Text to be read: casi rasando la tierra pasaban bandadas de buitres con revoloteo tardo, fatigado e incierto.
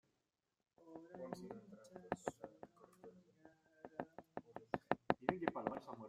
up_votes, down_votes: 0, 2